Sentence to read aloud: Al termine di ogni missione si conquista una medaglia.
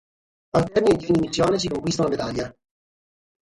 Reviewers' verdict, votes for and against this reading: accepted, 3, 0